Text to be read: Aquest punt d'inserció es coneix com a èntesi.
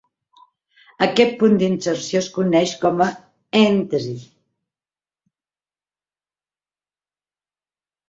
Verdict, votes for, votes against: rejected, 1, 2